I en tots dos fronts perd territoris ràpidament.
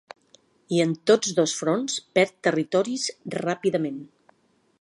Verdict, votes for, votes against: accepted, 3, 0